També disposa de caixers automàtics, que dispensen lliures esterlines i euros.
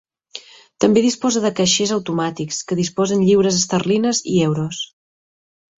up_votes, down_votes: 0, 2